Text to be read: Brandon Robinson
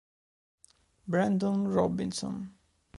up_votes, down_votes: 2, 0